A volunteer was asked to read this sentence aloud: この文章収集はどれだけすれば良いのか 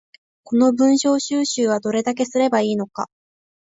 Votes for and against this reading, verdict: 3, 0, accepted